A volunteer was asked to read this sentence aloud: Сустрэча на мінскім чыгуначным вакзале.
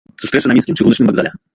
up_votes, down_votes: 0, 2